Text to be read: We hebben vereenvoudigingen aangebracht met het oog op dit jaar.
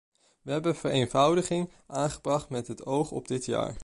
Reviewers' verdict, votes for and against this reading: rejected, 0, 2